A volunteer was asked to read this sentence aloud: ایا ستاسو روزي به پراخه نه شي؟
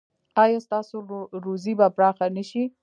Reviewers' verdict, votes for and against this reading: rejected, 1, 2